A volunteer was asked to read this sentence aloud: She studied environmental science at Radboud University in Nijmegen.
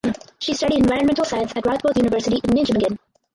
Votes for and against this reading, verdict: 0, 4, rejected